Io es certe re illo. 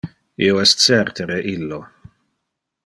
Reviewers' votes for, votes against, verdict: 2, 0, accepted